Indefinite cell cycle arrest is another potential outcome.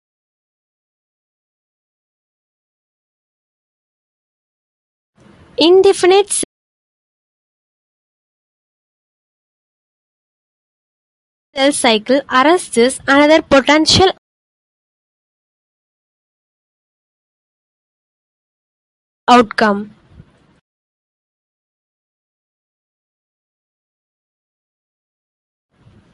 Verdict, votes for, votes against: rejected, 1, 2